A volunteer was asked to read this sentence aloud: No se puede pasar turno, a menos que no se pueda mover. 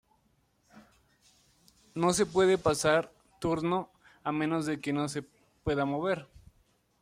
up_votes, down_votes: 0, 2